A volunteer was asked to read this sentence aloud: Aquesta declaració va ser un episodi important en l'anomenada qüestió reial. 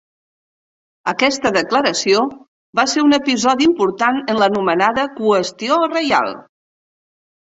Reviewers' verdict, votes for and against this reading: accepted, 3, 0